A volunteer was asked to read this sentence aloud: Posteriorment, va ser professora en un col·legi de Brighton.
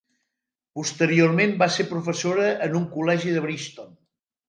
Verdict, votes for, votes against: rejected, 0, 2